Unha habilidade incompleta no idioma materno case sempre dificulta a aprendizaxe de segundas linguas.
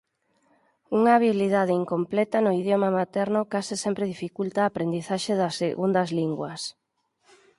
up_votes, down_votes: 2, 4